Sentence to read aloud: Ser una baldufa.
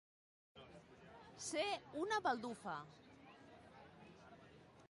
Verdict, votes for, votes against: rejected, 1, 2